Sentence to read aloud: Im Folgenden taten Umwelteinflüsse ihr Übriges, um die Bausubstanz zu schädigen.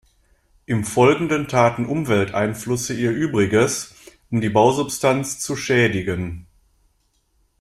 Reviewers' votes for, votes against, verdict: 0, 2, rejected